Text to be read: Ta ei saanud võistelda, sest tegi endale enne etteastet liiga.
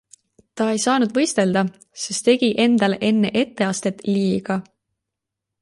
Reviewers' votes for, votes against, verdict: 2, 0, accepted